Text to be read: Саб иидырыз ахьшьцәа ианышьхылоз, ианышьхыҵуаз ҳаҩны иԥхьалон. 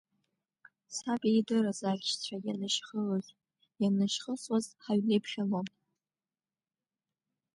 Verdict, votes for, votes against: rejected, 1, 2